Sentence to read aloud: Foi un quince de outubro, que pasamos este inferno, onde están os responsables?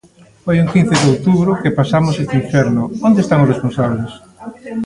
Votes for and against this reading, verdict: 1, 2, rejected